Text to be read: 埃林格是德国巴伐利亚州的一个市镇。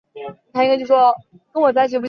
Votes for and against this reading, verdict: 0, 2, rejected